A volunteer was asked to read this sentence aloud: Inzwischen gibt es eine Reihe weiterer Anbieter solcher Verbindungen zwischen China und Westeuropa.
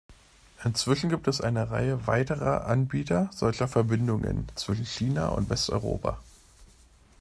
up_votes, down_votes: 3, 0